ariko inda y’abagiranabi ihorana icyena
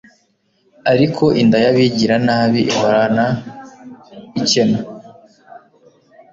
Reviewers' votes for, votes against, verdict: 1, 2, rejected